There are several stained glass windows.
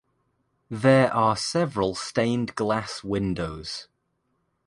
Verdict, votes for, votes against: accepted, 2, 0